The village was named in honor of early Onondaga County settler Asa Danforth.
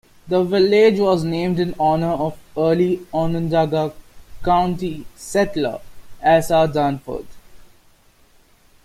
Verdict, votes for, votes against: accepted, 2, 0